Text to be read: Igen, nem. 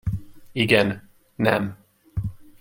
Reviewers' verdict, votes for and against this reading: accepted, 2, 0